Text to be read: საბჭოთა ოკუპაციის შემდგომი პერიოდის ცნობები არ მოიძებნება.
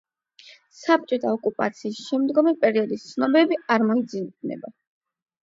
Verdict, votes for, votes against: accepted, 8, 0